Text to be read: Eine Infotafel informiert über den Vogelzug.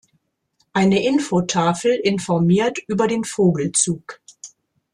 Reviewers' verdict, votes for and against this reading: accepted, 2, 0